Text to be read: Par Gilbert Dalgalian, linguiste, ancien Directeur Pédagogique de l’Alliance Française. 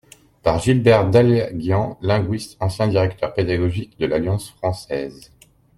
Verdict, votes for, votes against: rejected, 0, 2